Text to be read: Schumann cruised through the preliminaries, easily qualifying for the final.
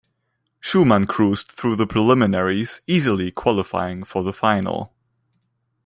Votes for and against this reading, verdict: 2, 0, accepted